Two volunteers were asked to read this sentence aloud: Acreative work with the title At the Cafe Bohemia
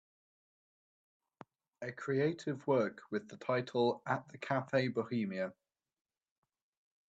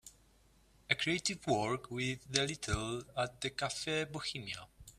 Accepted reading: first